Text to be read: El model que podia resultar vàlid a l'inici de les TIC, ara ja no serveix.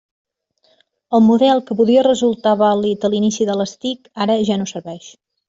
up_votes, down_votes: 2, 0